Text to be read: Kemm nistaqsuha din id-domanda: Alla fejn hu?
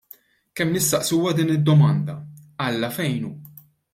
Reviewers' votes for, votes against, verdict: 1, 2, rejected